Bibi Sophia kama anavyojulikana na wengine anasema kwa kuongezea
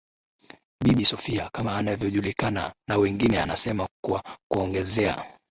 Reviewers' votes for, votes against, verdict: 3, 0, accepted